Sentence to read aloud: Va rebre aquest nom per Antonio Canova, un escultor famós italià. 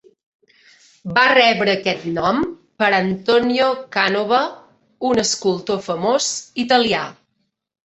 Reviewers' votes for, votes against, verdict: 1, 2, rejected